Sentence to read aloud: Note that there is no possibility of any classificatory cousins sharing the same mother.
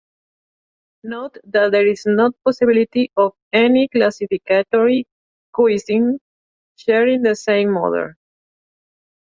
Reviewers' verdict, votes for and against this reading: rejected, 0, 2